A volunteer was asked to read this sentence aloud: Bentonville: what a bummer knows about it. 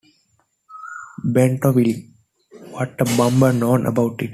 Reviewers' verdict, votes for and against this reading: rejected, 1, 2